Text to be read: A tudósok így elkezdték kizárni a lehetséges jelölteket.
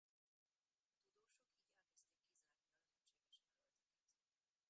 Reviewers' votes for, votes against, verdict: 0, 2, rejected